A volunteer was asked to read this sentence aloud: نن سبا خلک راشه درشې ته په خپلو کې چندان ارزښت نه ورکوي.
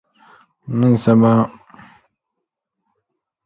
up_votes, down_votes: 0, 2